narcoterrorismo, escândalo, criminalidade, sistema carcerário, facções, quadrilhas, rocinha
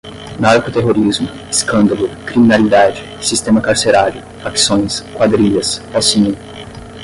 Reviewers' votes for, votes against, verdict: 5, 5, rejected